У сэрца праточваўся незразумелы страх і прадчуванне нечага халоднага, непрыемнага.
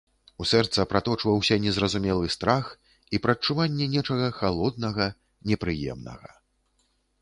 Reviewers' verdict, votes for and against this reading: accepted, 2, 0